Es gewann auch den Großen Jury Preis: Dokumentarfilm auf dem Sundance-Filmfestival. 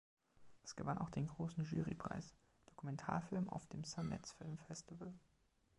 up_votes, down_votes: 2, 1